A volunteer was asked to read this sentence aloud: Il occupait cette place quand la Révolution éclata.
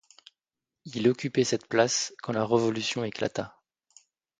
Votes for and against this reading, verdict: 1, 2, rejected